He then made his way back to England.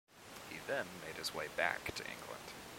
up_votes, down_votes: 0, 2